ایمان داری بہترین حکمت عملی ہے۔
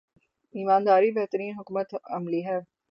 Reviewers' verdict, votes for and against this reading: rejected, 3, 3